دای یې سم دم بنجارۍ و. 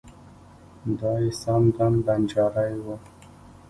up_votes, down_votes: 1, 2